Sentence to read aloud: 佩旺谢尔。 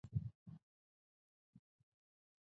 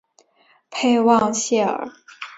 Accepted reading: second